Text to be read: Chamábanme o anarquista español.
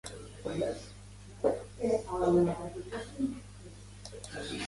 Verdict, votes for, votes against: rejected, 0, 3